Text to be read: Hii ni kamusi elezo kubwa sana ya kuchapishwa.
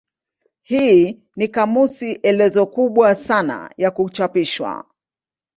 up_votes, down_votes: 16, 2